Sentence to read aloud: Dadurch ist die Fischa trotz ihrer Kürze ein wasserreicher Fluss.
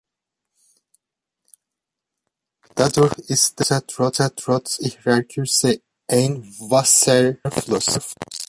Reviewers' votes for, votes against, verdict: 0, 3, rejected